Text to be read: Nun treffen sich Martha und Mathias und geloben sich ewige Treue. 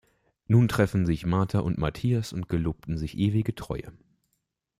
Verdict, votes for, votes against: rejected, 1, 2